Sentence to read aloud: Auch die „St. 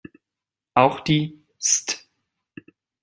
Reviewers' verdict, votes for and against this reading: rejected, 0, 2